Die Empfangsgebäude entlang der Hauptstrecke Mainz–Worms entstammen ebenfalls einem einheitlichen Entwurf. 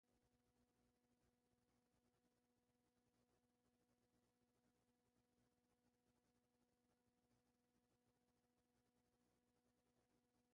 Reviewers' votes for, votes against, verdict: 0, 2, rejected